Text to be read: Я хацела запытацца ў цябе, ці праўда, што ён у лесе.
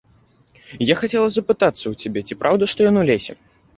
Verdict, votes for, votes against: accepted, 2, 0